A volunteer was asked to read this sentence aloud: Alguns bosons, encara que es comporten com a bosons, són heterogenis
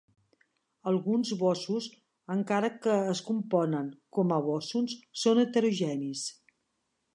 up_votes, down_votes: 0, 2